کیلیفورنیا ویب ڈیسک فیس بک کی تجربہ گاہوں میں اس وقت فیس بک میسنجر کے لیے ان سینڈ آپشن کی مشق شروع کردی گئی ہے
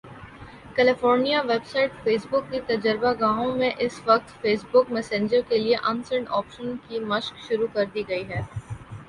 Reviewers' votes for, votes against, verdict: 1, 2, rejected